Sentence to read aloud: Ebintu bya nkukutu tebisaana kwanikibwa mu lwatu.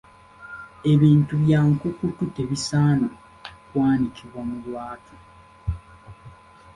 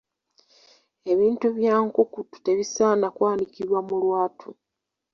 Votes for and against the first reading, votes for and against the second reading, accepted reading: 2, 1, 0, 2, first